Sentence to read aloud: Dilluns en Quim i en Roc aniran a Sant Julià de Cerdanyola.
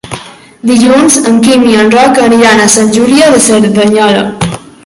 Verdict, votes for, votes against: rejected, 1, 2